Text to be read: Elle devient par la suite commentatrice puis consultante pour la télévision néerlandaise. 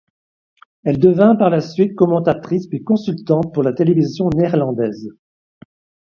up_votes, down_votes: 1, 2